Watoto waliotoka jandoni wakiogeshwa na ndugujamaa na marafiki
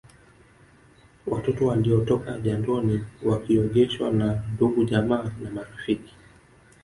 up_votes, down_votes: 1, 2